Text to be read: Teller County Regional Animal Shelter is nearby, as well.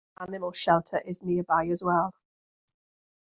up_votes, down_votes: 0, 2